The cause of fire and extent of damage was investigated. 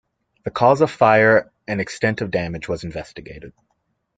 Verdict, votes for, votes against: accepted, 2, 1